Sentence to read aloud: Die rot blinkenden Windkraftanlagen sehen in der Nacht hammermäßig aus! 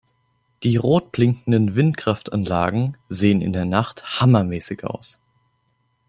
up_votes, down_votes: 3, 0